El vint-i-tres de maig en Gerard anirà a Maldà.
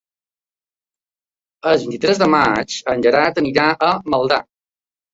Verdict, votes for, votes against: accepted, 2, 1